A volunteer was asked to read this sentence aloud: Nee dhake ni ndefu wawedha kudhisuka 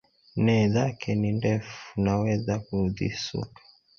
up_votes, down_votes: 0, 2